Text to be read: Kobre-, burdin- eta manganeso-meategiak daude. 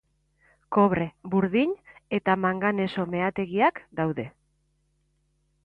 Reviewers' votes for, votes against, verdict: 2, 0, accepted